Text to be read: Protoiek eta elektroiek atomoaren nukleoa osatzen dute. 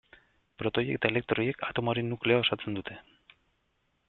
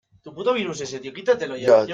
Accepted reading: first